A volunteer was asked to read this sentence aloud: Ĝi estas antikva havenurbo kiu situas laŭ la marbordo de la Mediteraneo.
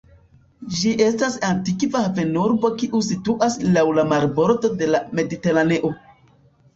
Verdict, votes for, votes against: rejected, 0, 2